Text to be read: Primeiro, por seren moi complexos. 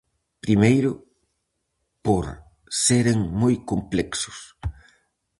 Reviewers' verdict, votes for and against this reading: accepted, 4, 0